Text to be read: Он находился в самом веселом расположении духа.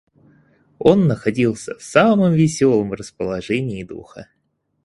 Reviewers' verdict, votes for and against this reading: accepted, 4, 0